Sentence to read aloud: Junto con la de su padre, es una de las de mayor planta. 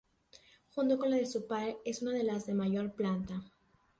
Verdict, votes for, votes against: rejected, 1, 2